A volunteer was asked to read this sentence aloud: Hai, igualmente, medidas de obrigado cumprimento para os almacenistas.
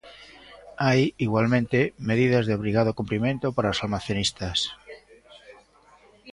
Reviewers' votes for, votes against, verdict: 1, 2, rejected